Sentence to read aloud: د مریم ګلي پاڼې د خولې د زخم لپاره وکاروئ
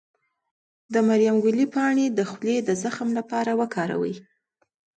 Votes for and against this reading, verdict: 2, 0, accepted